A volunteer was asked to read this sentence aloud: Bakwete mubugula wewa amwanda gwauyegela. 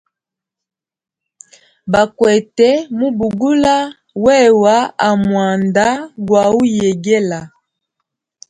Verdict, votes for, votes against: rejected, 1, 2